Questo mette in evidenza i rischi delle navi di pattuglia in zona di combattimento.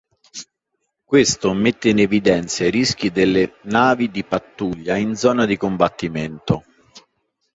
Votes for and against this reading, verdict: 3, 0, accepted